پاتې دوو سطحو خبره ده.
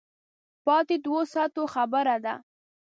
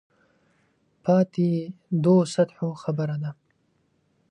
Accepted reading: second